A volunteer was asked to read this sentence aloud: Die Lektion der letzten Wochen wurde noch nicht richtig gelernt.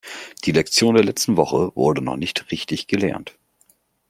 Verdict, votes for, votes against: rejected, 0, 2